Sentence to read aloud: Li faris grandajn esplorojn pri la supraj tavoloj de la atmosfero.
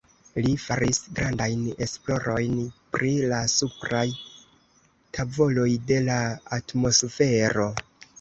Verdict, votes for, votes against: accepted, 2, 0